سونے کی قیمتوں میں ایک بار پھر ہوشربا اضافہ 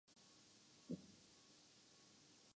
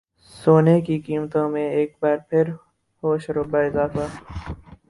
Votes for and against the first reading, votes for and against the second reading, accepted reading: 0, 3, 4, 0, second